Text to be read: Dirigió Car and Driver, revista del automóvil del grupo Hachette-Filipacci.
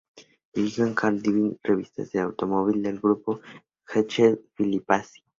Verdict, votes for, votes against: rejected, 0, 4